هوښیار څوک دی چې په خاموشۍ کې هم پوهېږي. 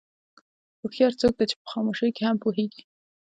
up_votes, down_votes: 1, 2